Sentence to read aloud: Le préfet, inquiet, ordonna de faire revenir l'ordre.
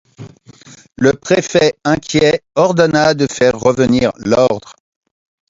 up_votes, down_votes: 2, 1